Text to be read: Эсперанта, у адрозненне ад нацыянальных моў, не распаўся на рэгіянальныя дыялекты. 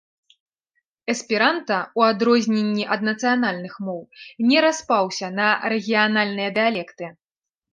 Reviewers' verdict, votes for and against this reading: accepted, 2, 0